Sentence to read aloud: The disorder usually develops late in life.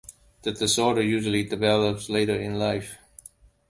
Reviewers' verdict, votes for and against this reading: rejected, 0, 2